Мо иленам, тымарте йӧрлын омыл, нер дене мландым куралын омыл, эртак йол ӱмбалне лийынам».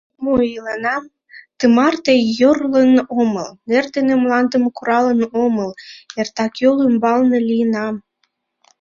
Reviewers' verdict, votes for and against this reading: rejected, 1, 2